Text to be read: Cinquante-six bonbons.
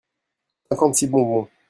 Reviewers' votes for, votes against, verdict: 1, 2, rejected